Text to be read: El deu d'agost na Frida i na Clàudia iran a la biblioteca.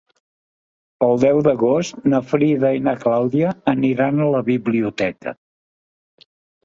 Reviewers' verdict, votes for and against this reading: rejected, 0, 2